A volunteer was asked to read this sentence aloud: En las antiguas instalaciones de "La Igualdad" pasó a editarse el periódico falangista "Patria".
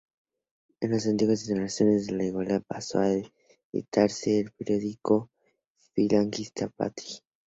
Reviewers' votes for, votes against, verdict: 0, 2, rejected